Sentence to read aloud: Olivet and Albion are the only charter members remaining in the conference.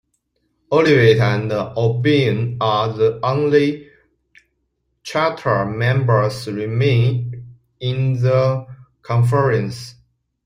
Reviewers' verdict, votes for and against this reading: accepted, 2, 1